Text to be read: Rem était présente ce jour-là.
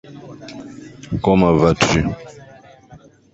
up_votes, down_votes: 1, 2